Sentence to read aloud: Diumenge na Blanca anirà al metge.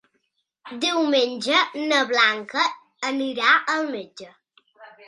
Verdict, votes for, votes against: accepted, 2, 0